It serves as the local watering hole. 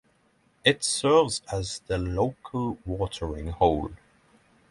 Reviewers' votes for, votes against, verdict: 6, 3, accepted